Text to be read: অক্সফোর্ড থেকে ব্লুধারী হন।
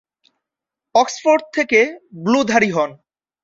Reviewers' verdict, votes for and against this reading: accepted, 2, 0